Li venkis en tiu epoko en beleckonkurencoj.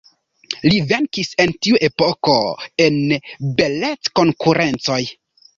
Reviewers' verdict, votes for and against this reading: accepted, 2, 0